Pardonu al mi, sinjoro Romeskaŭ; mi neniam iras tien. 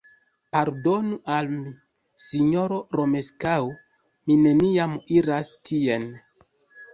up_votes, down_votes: 1, 2